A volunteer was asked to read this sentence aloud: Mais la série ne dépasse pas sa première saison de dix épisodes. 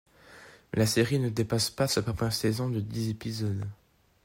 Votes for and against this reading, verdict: 4, 1, accepted